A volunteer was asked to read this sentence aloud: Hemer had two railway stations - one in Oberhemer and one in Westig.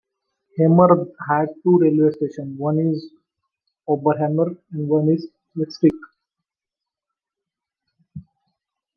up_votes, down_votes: 0, 2